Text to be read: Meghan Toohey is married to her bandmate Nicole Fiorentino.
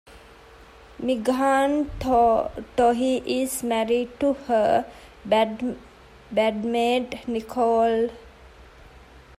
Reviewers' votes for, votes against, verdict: 0, 2, rejected